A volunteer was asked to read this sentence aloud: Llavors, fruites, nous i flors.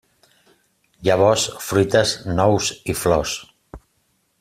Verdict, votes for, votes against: accepted, 3, 0